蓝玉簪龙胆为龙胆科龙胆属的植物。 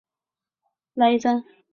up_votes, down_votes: 3, 0